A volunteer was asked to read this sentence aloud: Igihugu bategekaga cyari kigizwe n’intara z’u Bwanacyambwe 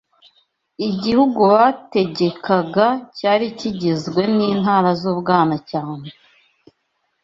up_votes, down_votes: 2, 0